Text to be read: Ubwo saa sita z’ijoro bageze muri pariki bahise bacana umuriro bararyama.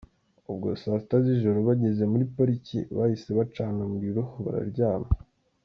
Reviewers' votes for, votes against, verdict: 1, 2, rejected